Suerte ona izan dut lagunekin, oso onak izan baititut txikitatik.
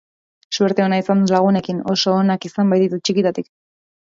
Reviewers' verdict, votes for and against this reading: rejected, 1, 2